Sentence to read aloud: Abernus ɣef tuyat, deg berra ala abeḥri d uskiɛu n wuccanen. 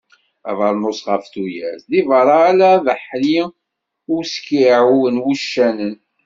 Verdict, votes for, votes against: accepted, 2, 0